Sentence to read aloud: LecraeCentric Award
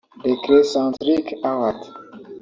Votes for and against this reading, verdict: 1, 2, rejected